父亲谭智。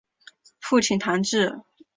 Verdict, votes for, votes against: accepted, 6, 0